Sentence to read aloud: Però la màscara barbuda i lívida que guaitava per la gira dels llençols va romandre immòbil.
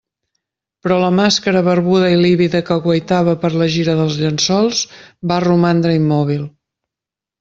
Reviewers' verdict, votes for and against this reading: accepted, 2, 0